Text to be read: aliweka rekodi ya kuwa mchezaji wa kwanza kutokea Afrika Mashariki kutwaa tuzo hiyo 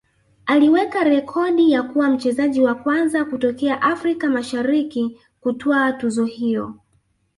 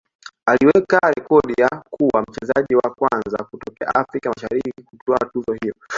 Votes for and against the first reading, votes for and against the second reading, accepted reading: 1, 3, 3, 2, second